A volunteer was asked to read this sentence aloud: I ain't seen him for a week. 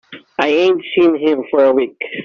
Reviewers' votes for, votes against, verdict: 2, 0, accepted